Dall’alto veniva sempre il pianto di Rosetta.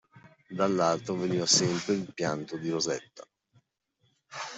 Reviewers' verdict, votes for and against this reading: accepted, 2, 1